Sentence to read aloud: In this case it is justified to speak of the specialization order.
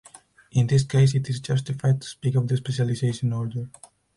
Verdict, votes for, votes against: accepted, 4, 0